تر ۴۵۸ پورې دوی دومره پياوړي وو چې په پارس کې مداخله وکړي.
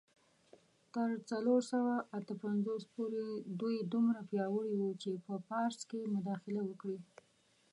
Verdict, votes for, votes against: rejected, 0, 2